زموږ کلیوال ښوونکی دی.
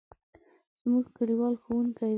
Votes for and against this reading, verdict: 0, 2, rejected